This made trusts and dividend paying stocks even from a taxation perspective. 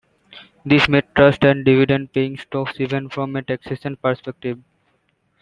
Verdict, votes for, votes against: accepted, 2, 1